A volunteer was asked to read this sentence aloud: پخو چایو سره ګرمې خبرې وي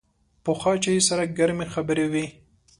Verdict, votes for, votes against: accepted, 2, 0